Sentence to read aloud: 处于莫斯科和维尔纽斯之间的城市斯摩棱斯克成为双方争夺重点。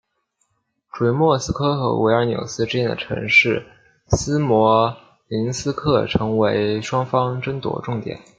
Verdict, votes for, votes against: accepted, 2, 0